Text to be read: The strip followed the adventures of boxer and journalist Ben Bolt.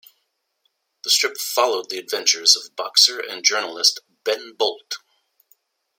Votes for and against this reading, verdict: 2, 0, accepted